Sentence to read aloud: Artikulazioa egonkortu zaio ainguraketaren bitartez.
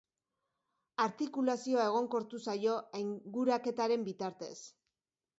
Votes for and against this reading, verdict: 1, 2, rejected